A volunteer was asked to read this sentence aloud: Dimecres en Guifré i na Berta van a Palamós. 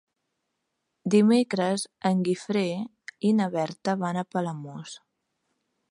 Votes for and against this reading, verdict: 3, 0, accepted